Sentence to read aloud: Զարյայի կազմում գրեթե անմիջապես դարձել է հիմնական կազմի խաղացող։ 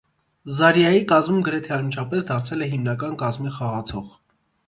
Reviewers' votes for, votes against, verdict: 2, 0, accepted